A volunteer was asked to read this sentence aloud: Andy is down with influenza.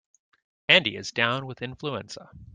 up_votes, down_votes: 2, 0